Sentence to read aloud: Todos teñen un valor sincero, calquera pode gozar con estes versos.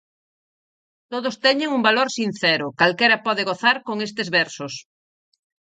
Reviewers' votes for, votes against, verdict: 4, 0, accepted